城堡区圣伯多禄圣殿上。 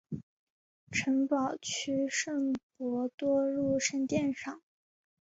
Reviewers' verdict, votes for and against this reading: accepted, 2, 0